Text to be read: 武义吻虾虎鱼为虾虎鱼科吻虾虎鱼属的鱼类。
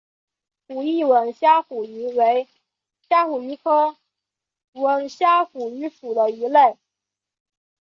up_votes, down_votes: 6, 1